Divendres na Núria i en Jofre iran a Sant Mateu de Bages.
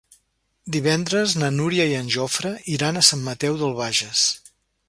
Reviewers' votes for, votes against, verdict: 1, 2, rejected